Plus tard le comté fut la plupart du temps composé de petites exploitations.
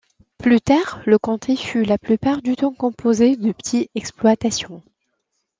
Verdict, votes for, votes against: rejected, 0, 2